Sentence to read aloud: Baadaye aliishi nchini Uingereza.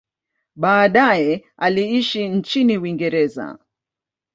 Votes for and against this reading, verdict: 2, 0, accepted